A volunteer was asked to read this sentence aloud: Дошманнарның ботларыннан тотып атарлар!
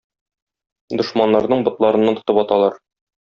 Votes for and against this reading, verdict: 0, 2, rejected